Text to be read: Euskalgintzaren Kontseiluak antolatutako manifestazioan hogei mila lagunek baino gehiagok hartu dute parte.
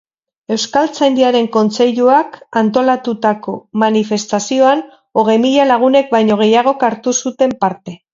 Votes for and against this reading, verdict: 0, 4, rejected